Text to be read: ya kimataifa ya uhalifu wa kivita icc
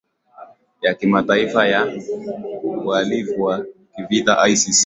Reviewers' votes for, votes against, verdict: 10, 2, accepted